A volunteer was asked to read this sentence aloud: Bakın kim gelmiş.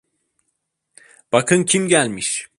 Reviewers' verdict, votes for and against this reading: accepted, 2, 0